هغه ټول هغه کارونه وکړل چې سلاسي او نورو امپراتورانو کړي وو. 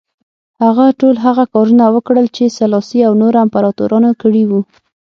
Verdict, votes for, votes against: rejected, 3, 6